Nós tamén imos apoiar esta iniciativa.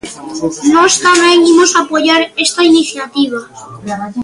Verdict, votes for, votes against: accepted, 2, 1